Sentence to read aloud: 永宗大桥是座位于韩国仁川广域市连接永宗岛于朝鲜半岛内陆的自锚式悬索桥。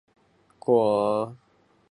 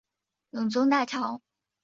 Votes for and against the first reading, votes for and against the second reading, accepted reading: 1, 3, 5, 3, second